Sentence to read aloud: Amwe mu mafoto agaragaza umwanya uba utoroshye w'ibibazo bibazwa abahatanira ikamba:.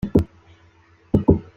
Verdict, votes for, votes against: rejected, 0, 3